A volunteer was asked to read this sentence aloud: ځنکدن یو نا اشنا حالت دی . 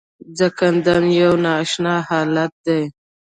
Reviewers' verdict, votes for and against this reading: accepted, 2, 0